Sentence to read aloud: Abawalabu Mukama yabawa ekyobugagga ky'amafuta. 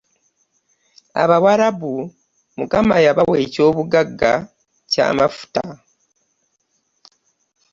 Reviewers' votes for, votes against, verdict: 3, 0, accepted